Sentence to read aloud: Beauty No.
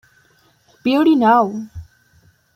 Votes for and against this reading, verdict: 0, 2, rejected